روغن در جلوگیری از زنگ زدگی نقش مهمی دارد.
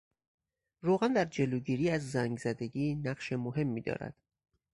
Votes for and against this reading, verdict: 4, 0, accepted